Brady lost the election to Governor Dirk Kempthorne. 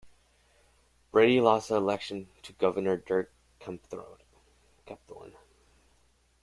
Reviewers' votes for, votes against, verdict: 0, 2, rejected